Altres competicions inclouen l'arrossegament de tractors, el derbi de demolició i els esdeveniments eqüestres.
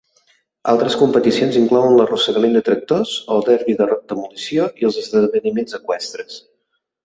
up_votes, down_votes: 1, 2